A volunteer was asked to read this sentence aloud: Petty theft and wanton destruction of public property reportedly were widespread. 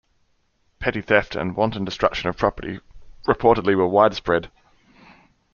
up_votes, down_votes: 0, 2